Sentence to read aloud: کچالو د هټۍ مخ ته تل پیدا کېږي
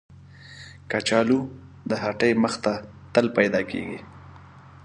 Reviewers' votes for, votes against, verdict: 2, 0, accepted